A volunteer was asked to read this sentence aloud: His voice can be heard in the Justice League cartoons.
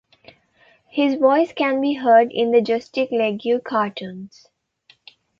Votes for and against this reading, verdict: 0, 2, rejected